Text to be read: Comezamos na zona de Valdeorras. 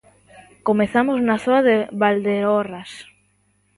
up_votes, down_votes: 1, 2